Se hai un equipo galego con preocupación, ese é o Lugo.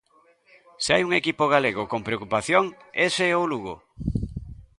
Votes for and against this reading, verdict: 2, 1, accepted